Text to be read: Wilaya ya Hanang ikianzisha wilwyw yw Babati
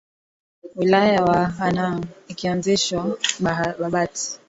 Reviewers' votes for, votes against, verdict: 3, 6, rejected